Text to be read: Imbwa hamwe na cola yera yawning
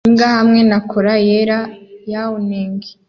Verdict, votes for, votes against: accepted, 2, 0